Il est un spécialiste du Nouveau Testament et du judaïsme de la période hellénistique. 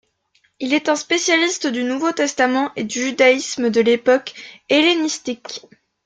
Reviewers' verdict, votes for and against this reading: rejected, 1, 2